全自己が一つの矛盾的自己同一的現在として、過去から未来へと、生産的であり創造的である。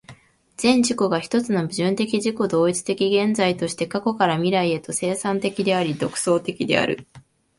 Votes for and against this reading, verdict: 1, 2, rejected